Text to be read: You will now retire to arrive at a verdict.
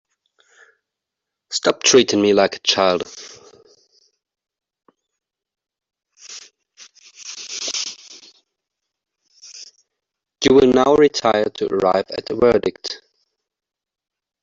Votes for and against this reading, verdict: 0, 2, rejected